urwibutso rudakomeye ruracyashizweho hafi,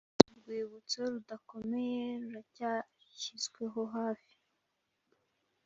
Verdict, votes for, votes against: accepted, 2, 0